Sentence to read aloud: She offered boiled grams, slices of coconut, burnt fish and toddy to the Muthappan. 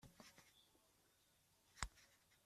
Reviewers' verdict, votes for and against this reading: rejected, 0, 2